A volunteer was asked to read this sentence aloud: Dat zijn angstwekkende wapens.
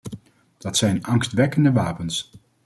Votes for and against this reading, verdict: 2, 0, accepted